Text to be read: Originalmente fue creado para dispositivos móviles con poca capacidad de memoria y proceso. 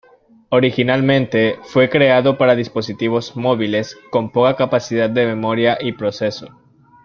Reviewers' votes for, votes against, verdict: 2, 0, accepted